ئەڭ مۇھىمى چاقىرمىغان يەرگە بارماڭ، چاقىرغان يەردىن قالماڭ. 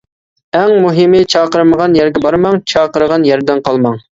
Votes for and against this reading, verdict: 2, 0, accepted